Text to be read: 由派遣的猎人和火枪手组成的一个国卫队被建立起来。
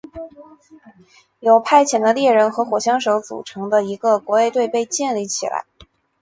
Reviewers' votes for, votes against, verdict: 4, 0, accepted